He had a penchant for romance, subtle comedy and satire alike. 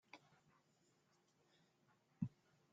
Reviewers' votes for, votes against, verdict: 0, 2, rejected